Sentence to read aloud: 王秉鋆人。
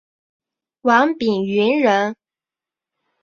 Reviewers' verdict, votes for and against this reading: accepted, 2, 0